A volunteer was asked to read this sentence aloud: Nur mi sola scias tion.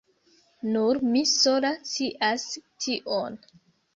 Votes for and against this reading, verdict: 1, 2, rejected